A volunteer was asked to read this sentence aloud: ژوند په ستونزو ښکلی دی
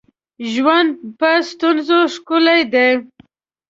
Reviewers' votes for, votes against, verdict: 4, 0, accepted